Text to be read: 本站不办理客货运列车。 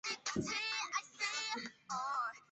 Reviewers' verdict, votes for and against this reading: rejected, 0, 4